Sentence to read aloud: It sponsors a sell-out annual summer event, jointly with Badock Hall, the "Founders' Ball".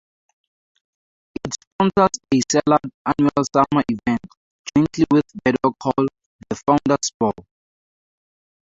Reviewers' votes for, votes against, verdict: 2, 4, rejected